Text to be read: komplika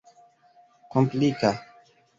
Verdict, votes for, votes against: accepted, 2, 0